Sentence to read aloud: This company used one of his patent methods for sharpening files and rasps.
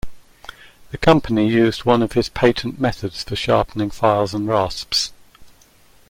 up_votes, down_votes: 0, 2